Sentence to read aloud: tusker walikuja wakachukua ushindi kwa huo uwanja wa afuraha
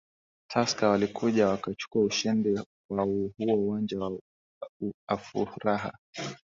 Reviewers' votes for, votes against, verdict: 2, 1, accepted